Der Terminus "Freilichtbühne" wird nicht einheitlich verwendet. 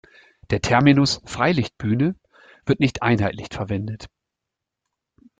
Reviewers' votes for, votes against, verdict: 1, 2, rejected